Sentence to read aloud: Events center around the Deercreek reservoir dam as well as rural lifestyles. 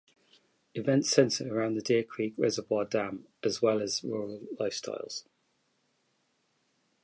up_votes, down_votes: 2, 0